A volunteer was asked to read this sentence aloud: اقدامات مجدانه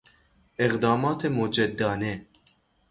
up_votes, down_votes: 3, 3